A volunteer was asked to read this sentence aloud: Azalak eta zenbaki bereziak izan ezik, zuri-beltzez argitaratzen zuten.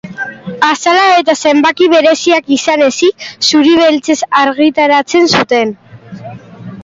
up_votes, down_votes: 2, 1